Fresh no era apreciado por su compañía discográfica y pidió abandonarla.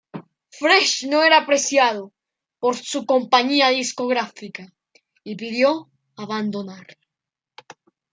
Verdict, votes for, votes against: rejected, 1, 2